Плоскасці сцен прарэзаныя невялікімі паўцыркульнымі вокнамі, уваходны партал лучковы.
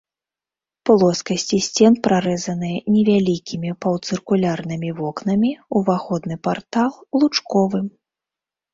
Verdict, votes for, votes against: rejected, 0, 2